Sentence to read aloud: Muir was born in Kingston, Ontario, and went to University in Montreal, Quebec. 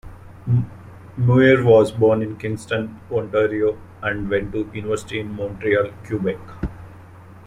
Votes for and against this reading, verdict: 0, 2, rejected